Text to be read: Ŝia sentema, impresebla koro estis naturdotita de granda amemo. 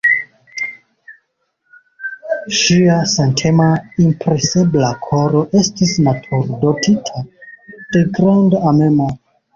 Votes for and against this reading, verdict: 2, 0, accepted